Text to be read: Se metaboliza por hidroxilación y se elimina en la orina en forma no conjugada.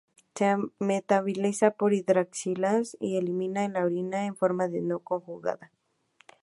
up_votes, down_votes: 0, 4